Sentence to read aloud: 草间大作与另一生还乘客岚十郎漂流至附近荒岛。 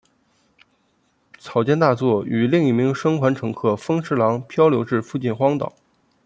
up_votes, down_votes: 1, 2